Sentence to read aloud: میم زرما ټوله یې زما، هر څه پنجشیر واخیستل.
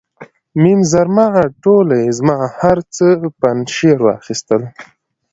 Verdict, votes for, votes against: accepted, 2, 0